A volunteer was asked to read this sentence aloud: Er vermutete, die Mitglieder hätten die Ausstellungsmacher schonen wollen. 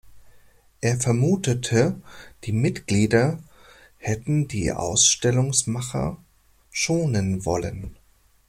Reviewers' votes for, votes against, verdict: 2, 0, accepted